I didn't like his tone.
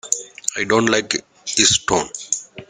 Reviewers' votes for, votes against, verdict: 0, 2, rejected